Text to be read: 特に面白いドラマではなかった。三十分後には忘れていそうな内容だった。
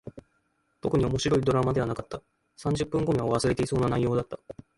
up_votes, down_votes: 3, 2